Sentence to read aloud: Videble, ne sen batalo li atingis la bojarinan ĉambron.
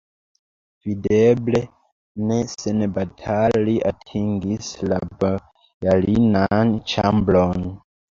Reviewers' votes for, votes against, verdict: 0, 2, rejected